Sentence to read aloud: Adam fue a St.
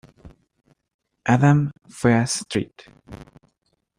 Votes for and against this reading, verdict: 2, 1, accepted